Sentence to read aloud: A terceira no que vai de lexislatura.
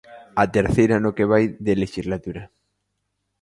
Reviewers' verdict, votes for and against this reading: accepted, 2, 0